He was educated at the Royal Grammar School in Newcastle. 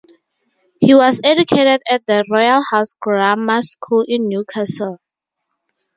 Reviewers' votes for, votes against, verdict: 0, 4, rejected